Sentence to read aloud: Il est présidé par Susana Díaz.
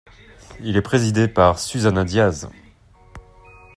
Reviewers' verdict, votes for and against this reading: accepted, 2, 0